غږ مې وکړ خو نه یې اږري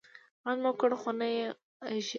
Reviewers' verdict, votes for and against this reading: accepted, 2, 0